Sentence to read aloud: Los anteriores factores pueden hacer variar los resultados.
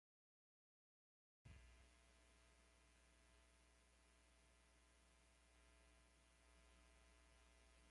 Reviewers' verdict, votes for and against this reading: rejected, 0, 2